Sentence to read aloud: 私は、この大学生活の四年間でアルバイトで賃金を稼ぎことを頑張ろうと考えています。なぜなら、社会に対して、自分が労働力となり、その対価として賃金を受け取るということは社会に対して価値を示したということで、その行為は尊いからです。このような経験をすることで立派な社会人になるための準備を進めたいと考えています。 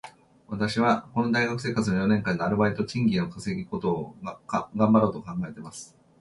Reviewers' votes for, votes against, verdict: 0, 2, rejected